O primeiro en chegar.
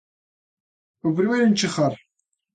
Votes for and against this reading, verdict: 2, 0, accepted